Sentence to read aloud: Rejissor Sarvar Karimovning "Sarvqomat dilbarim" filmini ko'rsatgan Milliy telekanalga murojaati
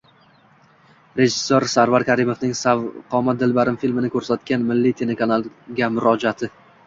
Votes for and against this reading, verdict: 2, 0, accepted